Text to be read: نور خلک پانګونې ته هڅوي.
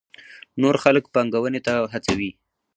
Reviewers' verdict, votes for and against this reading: rejected, 2, 2